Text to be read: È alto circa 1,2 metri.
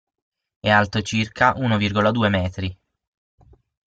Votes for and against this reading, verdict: 0, 2, rejected